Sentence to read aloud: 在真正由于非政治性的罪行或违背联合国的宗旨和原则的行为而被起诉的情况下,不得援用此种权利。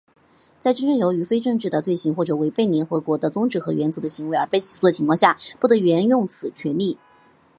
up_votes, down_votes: 3, 0